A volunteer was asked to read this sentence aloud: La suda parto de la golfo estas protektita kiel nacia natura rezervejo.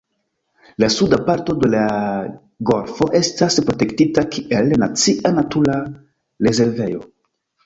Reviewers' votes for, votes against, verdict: 0, 2, rejected